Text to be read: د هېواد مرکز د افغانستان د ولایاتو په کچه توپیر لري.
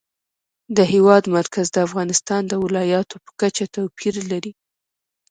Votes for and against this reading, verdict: 2, 0, accepted